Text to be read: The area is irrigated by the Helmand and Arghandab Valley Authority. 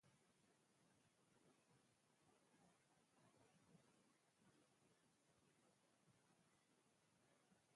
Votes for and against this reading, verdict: 0, 4, rejected